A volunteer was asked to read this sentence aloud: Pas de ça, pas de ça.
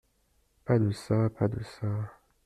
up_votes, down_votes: 2, 0